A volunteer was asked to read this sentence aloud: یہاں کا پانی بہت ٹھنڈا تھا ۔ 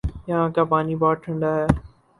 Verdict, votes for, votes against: rejected, 0, 2